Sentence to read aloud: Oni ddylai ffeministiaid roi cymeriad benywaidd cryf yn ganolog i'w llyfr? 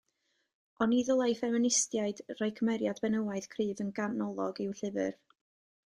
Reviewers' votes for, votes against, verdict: 2, 0, accepted